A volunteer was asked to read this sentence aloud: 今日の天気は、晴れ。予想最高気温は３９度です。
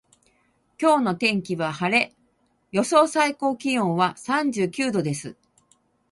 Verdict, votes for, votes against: rejected, 0, 2